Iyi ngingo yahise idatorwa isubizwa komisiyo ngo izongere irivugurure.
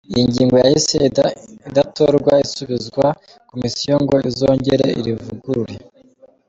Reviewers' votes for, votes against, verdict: 0, 2, rejected